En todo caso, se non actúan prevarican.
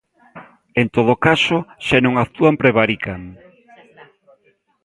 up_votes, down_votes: 2, 0